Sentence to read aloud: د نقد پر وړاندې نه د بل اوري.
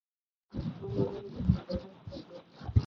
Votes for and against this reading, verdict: 0, 2, rejected